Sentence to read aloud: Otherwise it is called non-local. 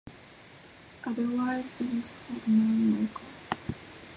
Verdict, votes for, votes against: rejected, 0, 2